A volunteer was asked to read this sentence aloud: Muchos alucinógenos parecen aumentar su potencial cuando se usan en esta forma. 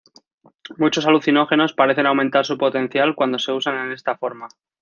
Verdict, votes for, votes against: accepted, 2, 0